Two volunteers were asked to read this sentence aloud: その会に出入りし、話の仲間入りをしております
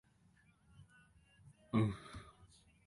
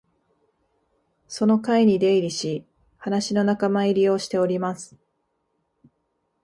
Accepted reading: second